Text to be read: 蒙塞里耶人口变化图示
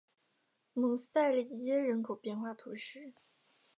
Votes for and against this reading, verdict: 3, 1, accepted